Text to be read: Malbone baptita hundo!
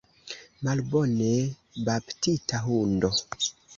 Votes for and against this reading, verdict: 2, 1, accepted